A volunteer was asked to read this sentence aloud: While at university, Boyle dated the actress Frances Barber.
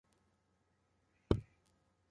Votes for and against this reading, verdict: 0, 2, rejected